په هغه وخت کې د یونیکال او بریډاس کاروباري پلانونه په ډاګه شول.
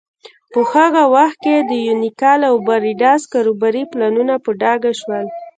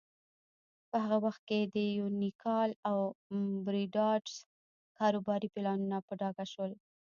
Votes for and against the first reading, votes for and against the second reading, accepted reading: 1, 2, 2, 1, second